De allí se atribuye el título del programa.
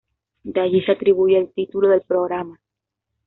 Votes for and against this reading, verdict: 2, 0, accepted